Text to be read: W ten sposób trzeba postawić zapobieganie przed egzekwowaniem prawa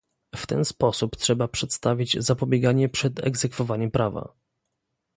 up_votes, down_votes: 1, 2